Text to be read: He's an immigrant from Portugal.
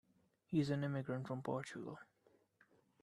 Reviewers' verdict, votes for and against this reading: accepted, 2, 1